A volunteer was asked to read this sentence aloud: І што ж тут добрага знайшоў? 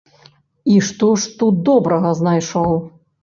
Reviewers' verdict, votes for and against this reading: accepted, 2, 0